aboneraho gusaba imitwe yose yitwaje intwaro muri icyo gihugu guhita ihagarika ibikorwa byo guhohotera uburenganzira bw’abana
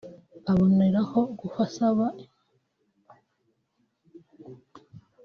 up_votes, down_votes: 0, 3